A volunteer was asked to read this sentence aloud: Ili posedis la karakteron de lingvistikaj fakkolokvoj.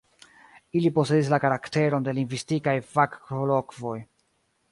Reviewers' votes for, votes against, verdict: 1, 2, rejected